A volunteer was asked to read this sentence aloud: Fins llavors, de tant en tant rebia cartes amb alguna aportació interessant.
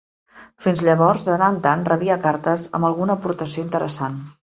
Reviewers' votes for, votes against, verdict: 2, 3, rejected